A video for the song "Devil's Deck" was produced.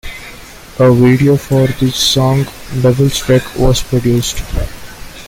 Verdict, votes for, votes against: accepted, 2, 0